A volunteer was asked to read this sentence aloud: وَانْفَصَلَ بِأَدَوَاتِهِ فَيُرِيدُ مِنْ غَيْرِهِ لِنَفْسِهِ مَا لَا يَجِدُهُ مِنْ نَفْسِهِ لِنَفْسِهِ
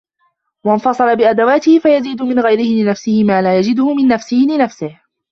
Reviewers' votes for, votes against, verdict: 1, 2, rejected